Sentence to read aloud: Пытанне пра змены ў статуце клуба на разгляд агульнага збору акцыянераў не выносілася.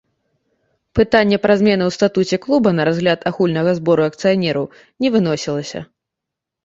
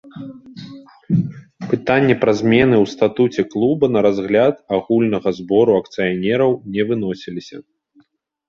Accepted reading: first